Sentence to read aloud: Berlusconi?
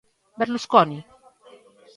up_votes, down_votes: 2, 0